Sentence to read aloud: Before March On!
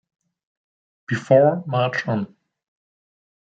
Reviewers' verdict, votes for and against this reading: accepted, 2, 1